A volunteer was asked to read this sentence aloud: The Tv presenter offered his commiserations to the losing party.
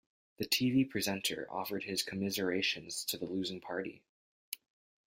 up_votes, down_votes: 2, 0